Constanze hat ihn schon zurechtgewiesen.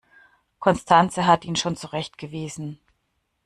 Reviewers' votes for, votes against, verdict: 2, 1, accepted